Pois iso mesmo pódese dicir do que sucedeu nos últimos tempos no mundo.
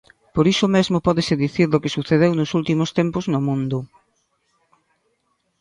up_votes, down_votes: 1, 2